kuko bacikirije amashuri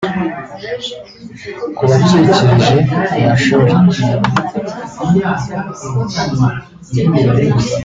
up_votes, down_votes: 1, 2